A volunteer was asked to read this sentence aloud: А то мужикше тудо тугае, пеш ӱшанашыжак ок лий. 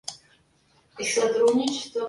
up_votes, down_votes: 0, 2